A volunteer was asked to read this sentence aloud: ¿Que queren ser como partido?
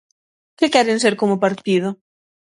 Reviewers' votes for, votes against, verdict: 6, 0, accepted